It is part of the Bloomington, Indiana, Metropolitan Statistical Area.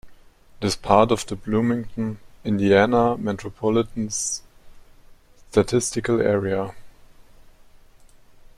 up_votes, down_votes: 5, 4